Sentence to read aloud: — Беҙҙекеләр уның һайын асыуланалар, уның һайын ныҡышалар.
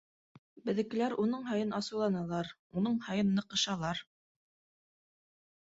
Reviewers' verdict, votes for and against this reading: accepted, 2, 0